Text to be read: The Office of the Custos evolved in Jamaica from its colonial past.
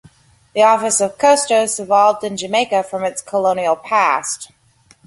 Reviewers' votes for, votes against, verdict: 2, 0, accepted